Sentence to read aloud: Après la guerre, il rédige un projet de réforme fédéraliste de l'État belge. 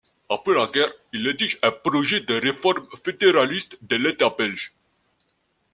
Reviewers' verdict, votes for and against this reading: rejected, 1, 2